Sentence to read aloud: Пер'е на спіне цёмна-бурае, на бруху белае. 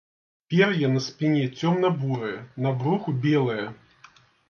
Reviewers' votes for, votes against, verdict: 2, 0, accepted